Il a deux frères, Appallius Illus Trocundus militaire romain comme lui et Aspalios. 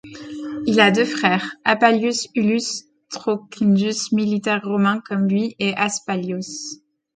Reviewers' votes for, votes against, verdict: 1, 2, rejected